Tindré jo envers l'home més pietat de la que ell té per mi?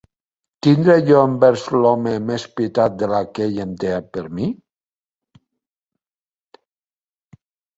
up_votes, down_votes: 0, 2